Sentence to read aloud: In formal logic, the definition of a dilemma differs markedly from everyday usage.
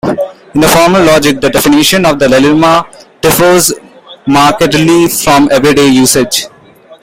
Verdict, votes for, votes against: rejected, 1, 2